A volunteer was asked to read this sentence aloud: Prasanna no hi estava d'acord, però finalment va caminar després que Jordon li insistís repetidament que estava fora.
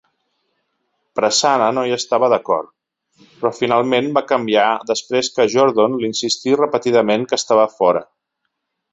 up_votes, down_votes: 0, 2